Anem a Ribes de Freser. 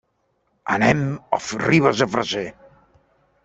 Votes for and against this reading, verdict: 0, 2, rejected